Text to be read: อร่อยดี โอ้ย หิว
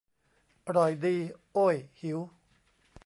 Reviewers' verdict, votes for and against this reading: rejected, 0, 2